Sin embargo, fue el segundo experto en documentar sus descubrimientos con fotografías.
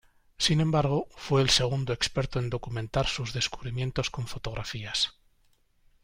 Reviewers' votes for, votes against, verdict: 2, 1, accepted